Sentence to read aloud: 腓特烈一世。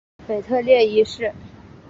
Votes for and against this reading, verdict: 2, 0, accepted